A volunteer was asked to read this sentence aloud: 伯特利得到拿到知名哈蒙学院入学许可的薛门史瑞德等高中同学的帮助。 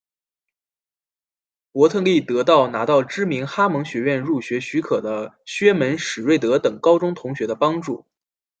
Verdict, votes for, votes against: accepted, 2, 0